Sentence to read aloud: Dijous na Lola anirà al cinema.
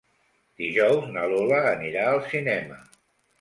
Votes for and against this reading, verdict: 2, 0, accepted